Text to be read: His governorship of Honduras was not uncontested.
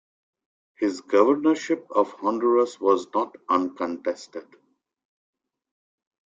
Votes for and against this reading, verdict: 2, 0, accepted